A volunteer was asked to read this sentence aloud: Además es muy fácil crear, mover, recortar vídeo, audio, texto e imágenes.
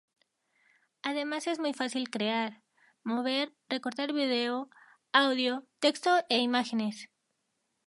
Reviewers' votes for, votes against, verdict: 2, 0, accepted